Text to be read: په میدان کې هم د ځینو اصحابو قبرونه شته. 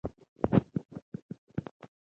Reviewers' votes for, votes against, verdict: 1, 2, rejected